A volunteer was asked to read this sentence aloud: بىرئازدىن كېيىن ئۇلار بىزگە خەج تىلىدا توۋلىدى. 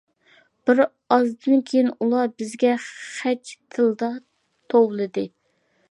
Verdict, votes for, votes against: accepted, 2, 1